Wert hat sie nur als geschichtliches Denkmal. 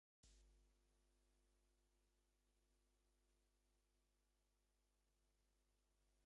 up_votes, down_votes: 0, 2